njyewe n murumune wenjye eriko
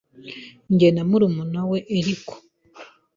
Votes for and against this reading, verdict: 1, 2, rejected